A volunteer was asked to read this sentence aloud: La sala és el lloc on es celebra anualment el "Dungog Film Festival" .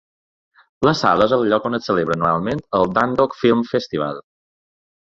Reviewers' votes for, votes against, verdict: 3, 0, accepted